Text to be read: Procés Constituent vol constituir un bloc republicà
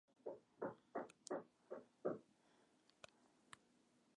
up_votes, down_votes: 0, 2